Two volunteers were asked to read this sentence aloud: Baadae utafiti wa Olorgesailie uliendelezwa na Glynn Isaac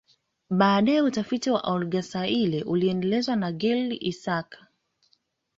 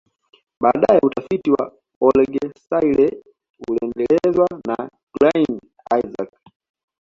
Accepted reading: second